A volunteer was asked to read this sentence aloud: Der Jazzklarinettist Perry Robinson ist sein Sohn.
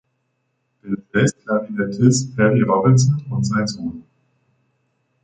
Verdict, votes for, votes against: rejected, 0, 2